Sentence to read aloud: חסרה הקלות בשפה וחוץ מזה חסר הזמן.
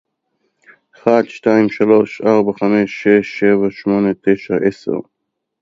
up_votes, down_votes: 0, 2